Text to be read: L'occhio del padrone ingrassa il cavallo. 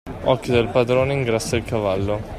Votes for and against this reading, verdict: 2, 1, accepted